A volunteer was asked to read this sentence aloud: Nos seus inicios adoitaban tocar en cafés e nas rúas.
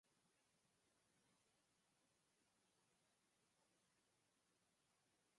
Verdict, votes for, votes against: rejected, 0, 4